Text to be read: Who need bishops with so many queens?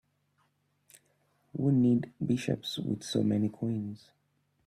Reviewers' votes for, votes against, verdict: 0, 2, rejected